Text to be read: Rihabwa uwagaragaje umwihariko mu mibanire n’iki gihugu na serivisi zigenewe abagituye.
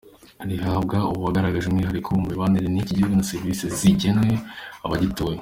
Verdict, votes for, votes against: accepted, 2, 0